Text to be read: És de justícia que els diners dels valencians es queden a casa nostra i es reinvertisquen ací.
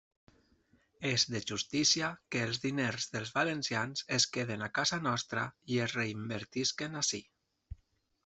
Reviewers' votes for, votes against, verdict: 3, 0, accepted